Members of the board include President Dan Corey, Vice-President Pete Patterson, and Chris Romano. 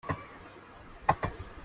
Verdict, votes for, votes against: rejected, 1, 2